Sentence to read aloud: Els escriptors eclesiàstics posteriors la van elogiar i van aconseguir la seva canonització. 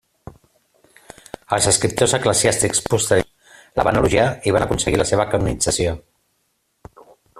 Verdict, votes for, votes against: rejected, 0, 2